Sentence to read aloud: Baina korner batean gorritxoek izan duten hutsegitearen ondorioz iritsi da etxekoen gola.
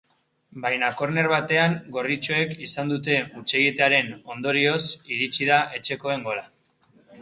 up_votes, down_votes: 2, 0